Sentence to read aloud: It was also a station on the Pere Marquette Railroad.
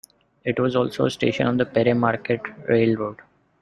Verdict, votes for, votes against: rejected, 0, 2